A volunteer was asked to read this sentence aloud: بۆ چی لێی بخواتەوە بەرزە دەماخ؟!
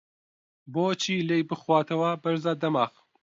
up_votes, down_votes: 2, 0